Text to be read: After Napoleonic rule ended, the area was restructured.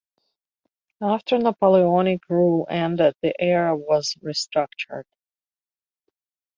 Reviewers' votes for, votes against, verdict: 2, 0, accepted